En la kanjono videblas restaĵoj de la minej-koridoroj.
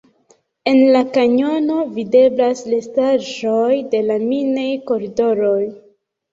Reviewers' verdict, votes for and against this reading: rejected, 2, 3